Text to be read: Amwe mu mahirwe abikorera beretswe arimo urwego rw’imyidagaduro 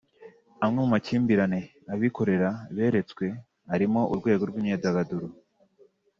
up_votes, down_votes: 2, 0